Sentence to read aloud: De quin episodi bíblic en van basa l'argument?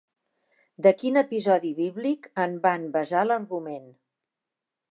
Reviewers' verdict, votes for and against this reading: rejected, 1, 2